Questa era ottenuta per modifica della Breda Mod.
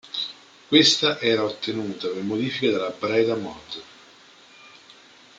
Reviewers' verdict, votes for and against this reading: accepted, 3, 1